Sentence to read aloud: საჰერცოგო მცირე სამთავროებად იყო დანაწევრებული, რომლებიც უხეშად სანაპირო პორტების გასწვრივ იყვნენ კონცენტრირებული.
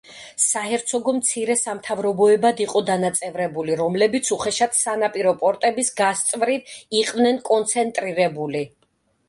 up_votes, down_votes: 2, 0